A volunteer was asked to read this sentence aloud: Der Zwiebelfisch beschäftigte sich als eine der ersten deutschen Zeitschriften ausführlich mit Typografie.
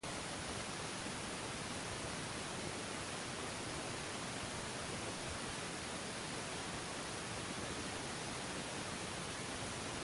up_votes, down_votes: 0, 2